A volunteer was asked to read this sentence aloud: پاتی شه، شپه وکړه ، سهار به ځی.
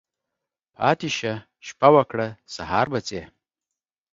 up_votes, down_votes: 2, 0